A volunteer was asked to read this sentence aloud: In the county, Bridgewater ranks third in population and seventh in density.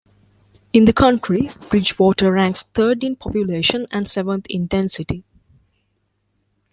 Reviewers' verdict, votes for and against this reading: rejected, 0, 2